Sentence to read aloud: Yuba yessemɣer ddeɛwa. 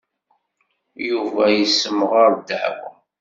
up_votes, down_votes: 2, 1